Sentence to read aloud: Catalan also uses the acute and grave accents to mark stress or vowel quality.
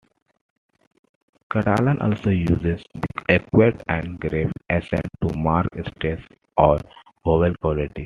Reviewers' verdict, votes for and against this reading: rejected, 0, 2